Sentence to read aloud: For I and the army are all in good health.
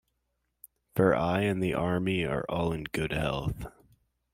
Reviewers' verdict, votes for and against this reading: accepted, 2, 1